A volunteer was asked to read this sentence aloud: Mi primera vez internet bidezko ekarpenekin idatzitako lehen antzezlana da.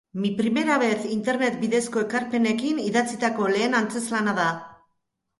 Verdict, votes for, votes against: accepted, 2, 0